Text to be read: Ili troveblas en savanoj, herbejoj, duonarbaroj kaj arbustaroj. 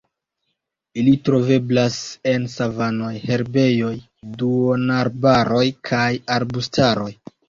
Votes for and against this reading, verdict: 2, 0, accepted